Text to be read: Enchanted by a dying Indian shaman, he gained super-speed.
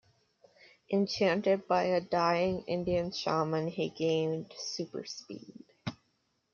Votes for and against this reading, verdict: 2, 0, accepted